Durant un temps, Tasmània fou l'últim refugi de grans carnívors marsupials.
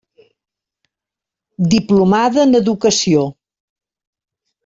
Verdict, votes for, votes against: rejected, 0, 2